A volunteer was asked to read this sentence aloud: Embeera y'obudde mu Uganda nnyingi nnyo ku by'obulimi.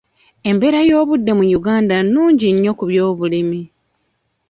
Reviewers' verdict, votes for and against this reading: rejected, 1, 2